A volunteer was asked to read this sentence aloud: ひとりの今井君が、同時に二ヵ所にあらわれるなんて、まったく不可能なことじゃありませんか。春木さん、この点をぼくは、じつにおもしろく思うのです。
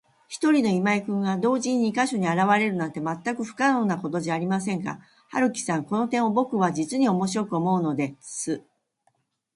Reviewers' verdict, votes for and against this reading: rejected, 0, 2